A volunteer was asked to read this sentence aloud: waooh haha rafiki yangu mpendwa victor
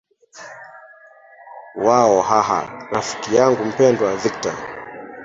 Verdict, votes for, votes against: rejected, 0, 2